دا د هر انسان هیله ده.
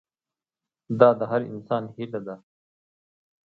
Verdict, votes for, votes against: accepted, 2, 0